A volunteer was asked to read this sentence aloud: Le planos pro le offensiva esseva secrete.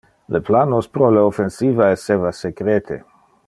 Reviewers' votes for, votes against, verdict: 2, 0, accepted